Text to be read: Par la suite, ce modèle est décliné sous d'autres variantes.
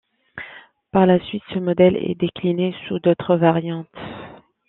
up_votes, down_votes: 2, 0